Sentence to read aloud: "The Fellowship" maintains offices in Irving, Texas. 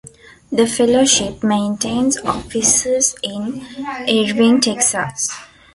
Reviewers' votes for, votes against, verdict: 1, 3, rejected